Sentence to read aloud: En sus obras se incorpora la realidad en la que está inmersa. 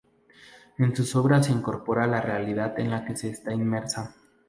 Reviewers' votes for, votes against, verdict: 0, 2, rejected